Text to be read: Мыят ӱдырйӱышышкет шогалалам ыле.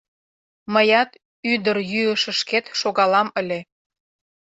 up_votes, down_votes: 0, 2